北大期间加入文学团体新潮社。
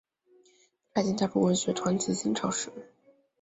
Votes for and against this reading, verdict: 0, 3, rejected